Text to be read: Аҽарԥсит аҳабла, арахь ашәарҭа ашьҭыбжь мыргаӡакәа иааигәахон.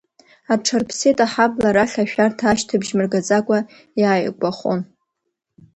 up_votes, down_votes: 2, 1